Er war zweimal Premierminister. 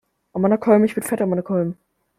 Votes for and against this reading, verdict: 0, 2, rejected